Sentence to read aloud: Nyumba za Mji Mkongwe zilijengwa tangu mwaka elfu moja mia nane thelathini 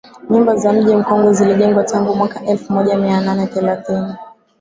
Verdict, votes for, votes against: rejected, 3, 3